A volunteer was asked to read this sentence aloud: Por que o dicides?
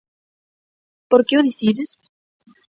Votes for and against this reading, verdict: 3, 0, accepted